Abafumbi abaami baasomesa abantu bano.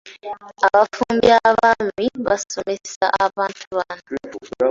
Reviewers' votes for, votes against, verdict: 1, 2, rejected